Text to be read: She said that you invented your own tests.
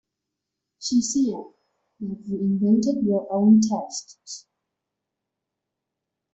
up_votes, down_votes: 1, 2